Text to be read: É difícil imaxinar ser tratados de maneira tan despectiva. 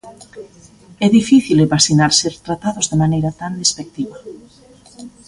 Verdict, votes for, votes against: accepted, 2, 0